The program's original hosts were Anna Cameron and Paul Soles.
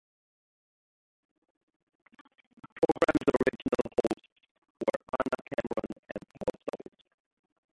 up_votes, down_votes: 1, 2